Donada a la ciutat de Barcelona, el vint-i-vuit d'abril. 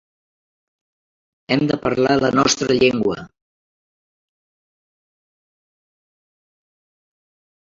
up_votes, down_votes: 0, 2